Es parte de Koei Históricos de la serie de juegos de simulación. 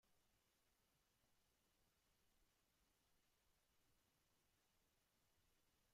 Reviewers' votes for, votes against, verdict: 0, 2, rejected